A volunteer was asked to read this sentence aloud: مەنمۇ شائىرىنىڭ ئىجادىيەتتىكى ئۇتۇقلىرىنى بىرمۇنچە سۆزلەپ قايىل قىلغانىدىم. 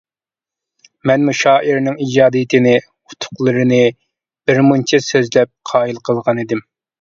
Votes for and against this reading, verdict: 1, 2, rejected